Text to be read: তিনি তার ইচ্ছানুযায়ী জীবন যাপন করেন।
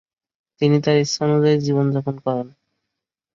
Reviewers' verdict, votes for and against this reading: rejected, 0, 2